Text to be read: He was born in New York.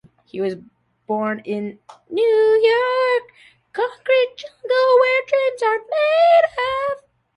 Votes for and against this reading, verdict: 0, 2, rejected